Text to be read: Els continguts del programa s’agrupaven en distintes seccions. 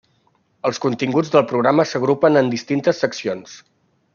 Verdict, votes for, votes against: rejected, 0, 2